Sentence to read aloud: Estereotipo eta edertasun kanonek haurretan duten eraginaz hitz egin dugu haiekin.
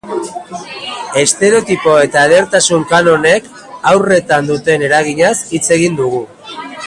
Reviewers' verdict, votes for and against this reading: rejected, 0, 2